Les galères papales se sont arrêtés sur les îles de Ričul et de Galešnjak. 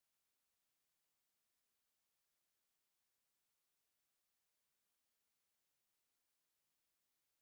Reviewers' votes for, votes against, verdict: 0, 2, rejected